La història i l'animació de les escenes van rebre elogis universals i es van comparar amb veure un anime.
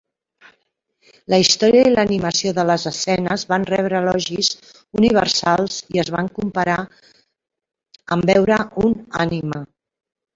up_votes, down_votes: 2, 1